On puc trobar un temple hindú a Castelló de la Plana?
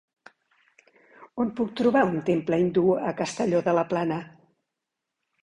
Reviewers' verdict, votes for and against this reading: accepted, 2, 0